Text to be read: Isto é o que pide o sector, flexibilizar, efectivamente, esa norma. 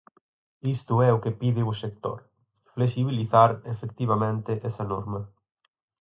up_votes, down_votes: 4, 0